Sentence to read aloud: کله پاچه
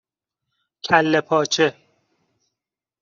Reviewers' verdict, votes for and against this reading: accepted, 2, 0